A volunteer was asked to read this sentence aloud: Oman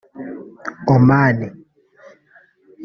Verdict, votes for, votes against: rejected, 2, 3